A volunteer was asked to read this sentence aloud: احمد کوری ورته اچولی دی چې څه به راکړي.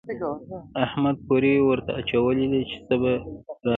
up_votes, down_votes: 2, 0